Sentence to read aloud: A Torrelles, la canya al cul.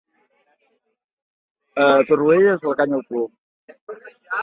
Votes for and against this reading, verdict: 2, 1, accepted